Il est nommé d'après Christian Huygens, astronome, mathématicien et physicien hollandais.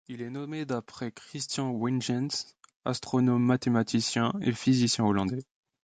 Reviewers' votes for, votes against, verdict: 0, 3, rejected